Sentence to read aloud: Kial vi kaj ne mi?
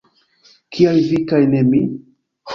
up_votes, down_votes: 1, 2